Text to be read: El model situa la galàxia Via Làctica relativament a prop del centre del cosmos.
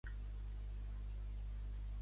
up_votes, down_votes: 0, 2